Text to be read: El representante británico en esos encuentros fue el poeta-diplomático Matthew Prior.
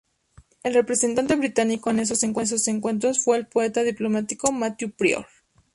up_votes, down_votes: 0, 2